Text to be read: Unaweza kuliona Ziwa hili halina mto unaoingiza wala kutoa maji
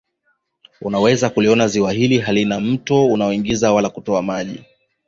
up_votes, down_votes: 1, 2